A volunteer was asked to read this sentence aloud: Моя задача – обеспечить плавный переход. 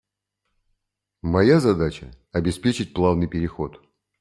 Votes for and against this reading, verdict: 2, 0, accepted